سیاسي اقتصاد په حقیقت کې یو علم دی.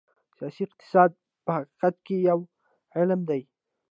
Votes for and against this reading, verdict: 0, 2, rejected